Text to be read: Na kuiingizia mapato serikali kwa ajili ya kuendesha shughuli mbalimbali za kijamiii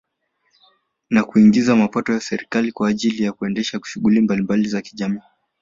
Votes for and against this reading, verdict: 2, 0, accepted